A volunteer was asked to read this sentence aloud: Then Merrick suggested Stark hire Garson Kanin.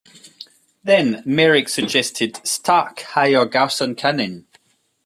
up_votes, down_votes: 2, 0